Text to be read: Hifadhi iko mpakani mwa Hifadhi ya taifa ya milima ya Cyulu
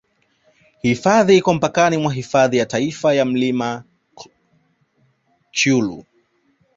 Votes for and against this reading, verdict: 1, 2, rejected